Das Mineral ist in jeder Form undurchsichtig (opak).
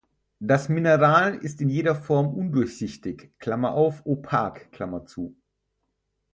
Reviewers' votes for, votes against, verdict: 0, 4, rejected